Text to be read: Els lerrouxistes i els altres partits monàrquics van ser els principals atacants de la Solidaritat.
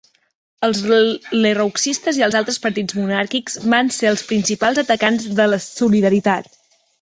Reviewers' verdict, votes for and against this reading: rejected, 0, 2